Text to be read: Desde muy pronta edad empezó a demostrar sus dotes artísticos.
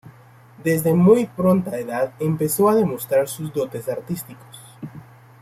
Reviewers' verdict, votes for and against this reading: accepted, 2, 0